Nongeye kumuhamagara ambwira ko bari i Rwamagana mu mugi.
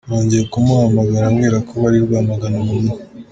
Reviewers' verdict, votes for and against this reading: accepted, 2, 0